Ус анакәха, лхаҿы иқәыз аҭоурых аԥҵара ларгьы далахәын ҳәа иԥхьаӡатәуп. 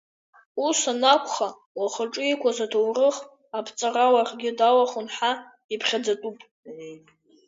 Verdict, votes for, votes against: accepted, 2, 0